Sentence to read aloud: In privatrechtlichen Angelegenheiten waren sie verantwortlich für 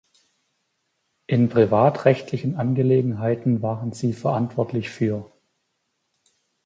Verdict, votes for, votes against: accepted, 2, 1